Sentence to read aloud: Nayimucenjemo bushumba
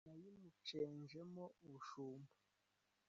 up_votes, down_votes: 1, 3